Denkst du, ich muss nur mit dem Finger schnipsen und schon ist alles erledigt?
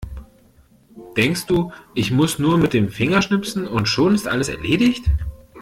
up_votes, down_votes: 2, 0